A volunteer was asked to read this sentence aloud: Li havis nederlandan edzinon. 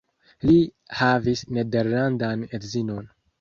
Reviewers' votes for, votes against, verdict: 2, 0, accepted